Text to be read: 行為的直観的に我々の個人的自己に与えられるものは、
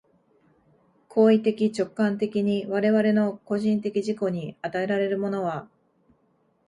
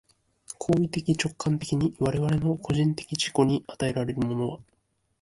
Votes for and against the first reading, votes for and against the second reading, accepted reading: 2, 0, 0, 2, first